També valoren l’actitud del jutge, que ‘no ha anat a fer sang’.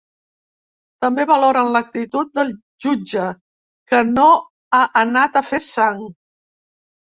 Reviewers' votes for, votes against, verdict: 2, 0, accepted